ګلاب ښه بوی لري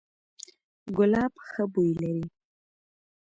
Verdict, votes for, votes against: accepted, 2, 0